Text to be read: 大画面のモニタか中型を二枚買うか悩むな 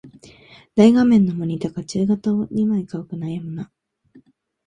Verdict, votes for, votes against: accepted, 3, 0